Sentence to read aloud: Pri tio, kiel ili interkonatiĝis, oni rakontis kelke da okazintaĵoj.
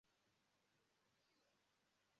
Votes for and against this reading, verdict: 0, 2, rejected